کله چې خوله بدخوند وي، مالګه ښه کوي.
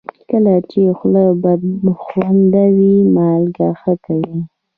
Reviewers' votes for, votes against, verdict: 0, 2, rejected